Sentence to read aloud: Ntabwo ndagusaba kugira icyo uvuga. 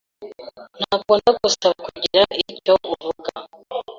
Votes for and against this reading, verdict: 1, 2, rejected